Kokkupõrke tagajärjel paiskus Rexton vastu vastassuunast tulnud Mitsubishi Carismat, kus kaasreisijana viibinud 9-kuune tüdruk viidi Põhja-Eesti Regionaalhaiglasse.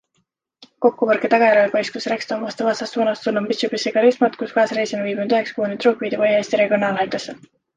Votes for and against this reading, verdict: 0, 2, rejected